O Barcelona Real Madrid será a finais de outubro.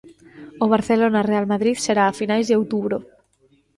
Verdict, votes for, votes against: accepted, 2, 0